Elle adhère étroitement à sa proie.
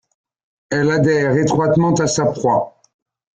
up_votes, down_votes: 1, 2